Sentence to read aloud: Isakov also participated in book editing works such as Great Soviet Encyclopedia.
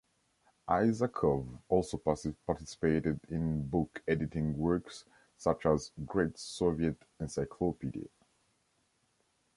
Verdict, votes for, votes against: rejected, 0, 2